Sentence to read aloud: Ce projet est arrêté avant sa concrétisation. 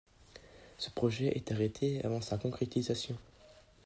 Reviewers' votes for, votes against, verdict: 2, 0, accepted